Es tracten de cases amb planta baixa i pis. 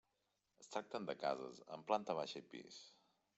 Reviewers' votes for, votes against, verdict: 0, 2, rejected